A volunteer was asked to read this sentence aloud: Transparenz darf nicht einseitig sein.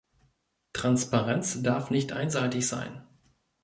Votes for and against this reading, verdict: 2, 0, accepted